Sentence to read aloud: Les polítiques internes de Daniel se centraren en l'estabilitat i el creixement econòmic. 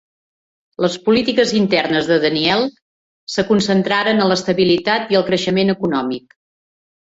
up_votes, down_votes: 0, 2